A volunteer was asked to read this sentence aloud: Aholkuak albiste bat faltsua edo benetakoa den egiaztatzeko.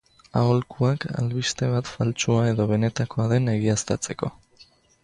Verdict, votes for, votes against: accepted, 2, 0